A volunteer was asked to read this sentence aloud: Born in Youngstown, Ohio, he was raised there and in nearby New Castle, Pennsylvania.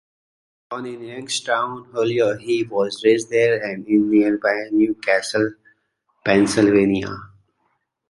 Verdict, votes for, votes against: accepted, 2, 1